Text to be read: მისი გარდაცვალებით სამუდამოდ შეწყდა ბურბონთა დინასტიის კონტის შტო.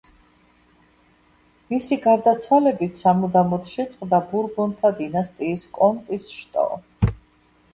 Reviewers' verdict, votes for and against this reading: rejected, 0, 2